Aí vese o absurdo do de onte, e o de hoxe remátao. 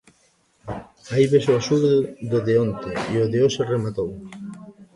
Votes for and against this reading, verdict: 0, 2, rejected